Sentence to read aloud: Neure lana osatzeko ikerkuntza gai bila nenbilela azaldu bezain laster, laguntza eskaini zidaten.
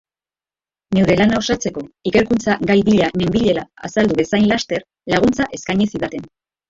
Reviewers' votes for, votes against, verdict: 1, 2, rejected